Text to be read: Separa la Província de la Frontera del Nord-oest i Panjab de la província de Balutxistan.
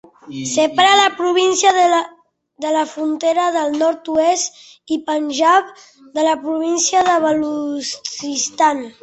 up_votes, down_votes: 1, 2